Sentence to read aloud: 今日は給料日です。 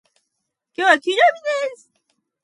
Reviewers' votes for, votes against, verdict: 1, 2, rejected